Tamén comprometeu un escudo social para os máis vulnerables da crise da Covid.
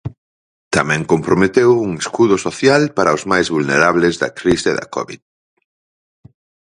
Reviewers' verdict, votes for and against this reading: accepted, 4, 0